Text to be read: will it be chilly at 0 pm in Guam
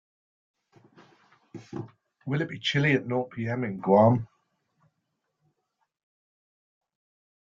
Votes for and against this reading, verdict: 0, 2, rejected